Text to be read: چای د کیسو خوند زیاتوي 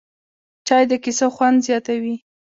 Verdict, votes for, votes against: accepted, 2, 1